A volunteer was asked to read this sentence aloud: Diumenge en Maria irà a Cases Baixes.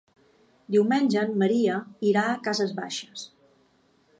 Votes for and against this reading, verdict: 2, 0, accepted